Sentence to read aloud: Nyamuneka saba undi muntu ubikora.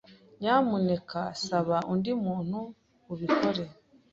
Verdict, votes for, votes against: rejected, 0, 2